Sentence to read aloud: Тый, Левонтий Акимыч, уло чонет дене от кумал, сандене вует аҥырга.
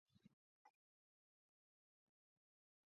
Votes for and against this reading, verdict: 0, 2, rejected